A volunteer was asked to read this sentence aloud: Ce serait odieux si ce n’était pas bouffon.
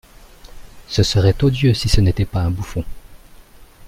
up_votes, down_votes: 0, 2